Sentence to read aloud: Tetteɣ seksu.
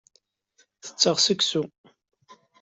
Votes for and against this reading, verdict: 2, 0, accepted